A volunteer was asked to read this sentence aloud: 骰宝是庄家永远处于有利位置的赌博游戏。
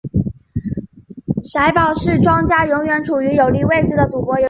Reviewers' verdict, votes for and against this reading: accepted, 7, 1